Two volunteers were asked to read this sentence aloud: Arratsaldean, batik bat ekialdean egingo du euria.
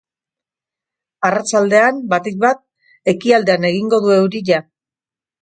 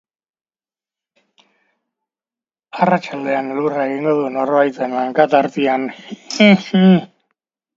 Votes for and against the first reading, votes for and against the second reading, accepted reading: 2, 1, 0, 2, first